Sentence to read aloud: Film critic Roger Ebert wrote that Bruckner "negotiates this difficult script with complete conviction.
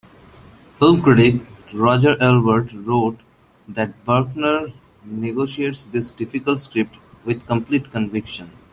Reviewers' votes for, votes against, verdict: 2, 3, rejected